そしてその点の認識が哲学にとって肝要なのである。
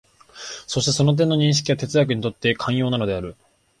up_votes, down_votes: 1, 2